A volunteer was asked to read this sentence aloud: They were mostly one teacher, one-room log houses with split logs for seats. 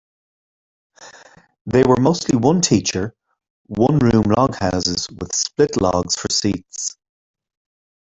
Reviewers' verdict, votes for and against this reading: accepted, 2, 1